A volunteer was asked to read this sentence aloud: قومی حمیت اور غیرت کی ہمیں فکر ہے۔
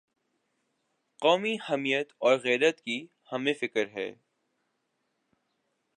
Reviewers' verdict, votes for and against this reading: accepted, 2, 0